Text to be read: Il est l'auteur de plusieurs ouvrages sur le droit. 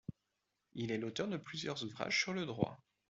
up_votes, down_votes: 2, 0